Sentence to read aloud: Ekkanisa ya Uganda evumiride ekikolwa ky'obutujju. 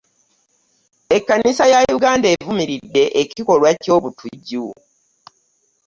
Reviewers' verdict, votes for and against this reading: accepted, 2, 0